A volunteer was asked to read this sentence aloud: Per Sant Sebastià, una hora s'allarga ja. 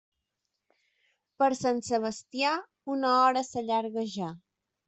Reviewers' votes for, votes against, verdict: 3, 0, accepted